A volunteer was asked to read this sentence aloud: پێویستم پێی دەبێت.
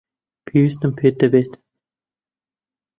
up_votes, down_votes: 0, 2